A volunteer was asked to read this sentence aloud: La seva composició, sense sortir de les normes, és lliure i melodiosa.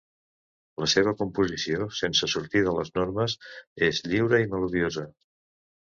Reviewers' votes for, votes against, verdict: 2, 0, accepted